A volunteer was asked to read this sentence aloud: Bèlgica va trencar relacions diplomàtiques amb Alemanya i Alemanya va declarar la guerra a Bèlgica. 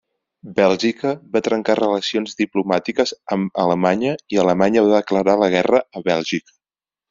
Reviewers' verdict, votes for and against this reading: accepted, 3, 0